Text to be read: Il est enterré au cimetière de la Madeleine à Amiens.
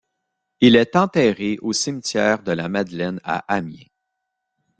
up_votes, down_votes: 2, 0